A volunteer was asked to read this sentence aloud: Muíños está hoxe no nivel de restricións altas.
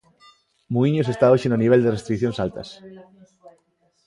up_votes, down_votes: 0, 2